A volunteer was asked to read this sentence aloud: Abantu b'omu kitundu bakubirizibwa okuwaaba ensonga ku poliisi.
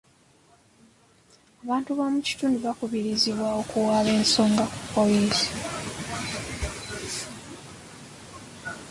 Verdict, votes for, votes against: accepted, 2, 1